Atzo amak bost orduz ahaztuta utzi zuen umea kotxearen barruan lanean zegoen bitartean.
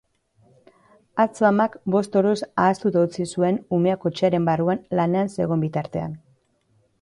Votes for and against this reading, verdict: 3, 0, accepted